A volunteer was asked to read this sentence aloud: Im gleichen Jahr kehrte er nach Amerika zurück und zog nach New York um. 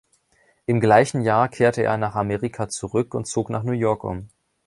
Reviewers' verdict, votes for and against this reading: accepted, 3, 0